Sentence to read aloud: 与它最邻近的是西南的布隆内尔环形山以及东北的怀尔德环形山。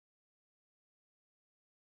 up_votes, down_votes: 0, 2